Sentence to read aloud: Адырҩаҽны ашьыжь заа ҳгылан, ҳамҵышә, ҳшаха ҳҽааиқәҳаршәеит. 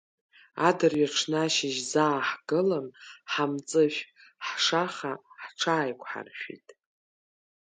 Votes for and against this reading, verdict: 2, 0, accepted